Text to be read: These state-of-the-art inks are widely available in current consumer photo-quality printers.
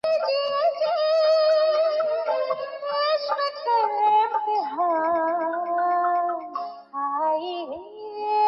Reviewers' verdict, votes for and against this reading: rejected, 0, 4